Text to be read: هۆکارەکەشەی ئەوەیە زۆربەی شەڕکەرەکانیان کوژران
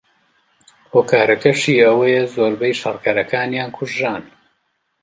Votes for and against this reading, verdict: 1, 2, rejected